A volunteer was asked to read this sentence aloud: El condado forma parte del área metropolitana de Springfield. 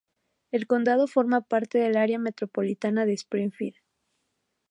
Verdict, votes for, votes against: accepted, 2, 0